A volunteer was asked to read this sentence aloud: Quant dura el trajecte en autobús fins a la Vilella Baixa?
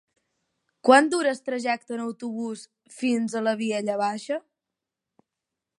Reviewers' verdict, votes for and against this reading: accepted, 10, 0